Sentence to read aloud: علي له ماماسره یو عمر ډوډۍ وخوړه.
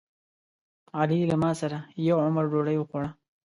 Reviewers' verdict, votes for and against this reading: rejected, 1, 2